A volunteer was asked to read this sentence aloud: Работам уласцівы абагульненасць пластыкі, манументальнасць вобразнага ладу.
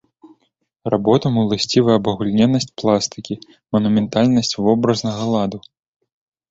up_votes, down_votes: 2, 1